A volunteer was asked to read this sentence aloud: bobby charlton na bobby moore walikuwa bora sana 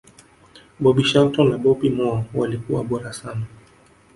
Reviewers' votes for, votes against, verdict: 0, 2, rejected